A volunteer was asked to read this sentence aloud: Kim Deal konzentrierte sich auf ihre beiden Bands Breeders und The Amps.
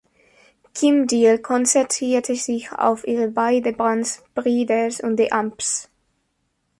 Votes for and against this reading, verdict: 4, 3, accepted